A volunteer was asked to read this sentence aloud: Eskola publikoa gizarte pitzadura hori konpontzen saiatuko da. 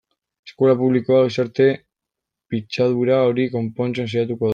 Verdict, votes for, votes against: rejected, 0, 2